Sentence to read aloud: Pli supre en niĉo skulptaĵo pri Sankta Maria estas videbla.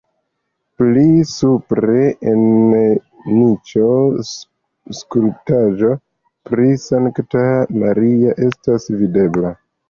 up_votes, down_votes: 2, 1